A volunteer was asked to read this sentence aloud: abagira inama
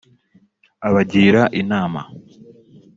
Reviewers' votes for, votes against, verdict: 3, 0, accepted